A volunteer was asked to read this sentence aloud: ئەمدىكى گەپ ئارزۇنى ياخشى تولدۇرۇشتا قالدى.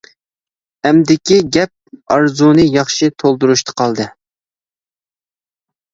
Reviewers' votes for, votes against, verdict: 2, 0, accepted